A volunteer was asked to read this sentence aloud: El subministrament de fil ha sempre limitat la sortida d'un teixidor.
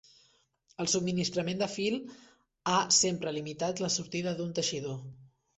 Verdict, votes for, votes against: accepted, 3, 0